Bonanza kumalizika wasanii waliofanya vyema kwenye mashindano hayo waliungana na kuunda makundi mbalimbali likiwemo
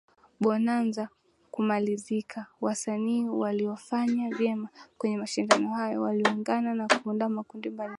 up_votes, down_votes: 2, 1